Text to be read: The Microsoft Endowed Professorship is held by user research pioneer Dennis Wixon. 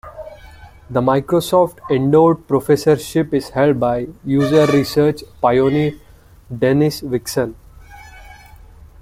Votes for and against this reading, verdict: 0, 2, rejected